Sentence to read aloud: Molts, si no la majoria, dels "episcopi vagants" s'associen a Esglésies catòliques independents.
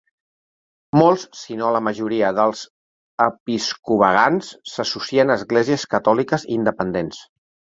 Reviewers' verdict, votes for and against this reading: rejected, 0, 3